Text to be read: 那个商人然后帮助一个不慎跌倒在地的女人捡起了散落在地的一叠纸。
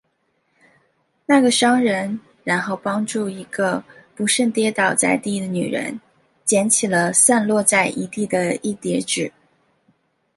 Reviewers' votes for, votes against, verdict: 0, 2, rejected